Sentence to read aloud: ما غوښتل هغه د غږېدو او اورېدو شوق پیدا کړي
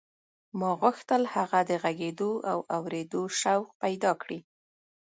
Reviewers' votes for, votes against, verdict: 0, 2, rejected